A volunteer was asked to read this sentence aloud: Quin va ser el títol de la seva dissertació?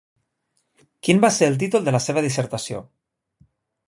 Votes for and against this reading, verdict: 1, 2, rejected